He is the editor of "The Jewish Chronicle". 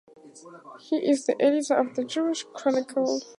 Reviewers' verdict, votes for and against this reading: accepted, 4, 0